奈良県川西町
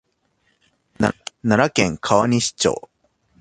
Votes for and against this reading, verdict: 1, 2, rejected